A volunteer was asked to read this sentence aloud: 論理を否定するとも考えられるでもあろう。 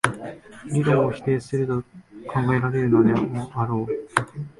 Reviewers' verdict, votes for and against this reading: rejected, 0, 2